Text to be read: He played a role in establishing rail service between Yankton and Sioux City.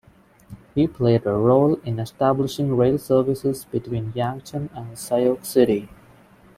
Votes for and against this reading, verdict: 1, 2, rejected